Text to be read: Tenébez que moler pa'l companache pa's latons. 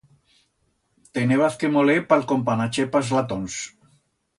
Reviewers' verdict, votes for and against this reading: rejected, 1, 2